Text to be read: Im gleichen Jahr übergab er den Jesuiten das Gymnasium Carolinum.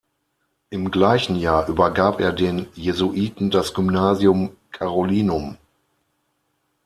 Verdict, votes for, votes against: accepted, 6, 0